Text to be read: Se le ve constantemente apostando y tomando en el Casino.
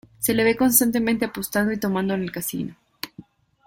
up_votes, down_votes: 2, 0